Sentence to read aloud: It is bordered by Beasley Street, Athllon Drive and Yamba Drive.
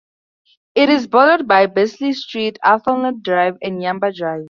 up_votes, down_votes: 2, 2